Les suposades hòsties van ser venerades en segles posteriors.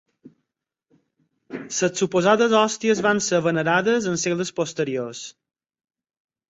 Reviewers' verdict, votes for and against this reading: rejected, 2, 4